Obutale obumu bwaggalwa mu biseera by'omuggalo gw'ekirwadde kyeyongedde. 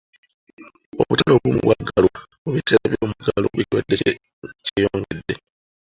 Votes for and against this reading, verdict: 0, 2, rejected